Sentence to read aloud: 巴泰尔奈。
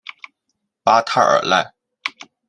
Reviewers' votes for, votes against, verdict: 2, 1, accepted